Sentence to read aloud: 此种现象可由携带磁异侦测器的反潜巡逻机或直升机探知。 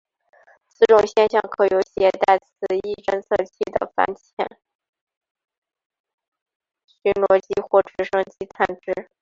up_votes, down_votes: 0, 2